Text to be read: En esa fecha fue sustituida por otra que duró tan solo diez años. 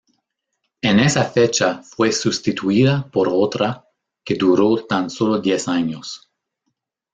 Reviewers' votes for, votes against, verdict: 1, 2, rejected